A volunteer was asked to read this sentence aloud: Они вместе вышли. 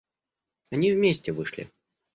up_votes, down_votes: 2, 0